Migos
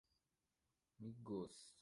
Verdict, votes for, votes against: accepted, 2, 0